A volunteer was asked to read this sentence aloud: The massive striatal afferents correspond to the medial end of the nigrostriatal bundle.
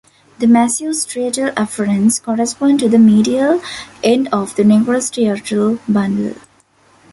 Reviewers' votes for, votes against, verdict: 1, 2, rejected